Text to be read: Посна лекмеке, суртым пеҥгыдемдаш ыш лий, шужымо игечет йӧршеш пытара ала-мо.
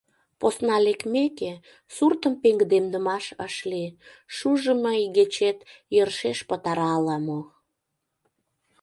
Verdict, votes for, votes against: rejected, 0, 2